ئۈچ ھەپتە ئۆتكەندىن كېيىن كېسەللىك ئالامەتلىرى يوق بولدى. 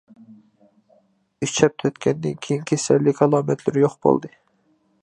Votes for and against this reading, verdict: 2, 0, accepted